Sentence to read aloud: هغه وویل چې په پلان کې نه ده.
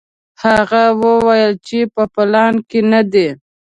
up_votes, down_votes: 0, 2